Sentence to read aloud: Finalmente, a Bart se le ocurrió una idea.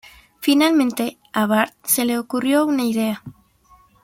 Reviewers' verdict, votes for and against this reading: accepted, 2, 0